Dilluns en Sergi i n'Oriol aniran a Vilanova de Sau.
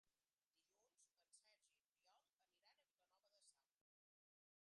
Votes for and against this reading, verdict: 0, 5, rejected